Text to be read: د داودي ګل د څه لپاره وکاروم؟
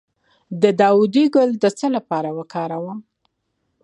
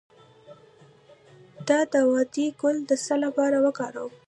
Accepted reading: first